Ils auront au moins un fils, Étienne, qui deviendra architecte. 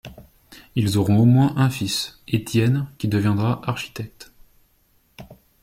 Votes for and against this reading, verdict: 2, 0, accepted